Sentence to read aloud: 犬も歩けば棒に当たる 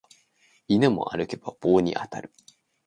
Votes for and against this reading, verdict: 2, 0, accepted